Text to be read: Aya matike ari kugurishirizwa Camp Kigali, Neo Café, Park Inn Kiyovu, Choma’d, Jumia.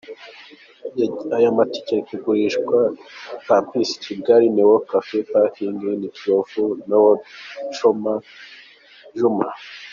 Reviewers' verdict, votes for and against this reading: rejected, 0, 2